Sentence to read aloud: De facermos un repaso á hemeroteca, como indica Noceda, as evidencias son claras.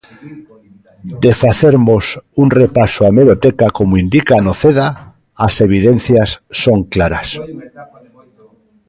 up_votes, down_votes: 2, 1